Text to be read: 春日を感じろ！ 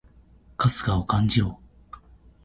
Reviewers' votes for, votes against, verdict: 2, 0, accepted